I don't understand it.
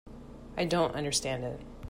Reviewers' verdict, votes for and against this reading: accepted, 2, 0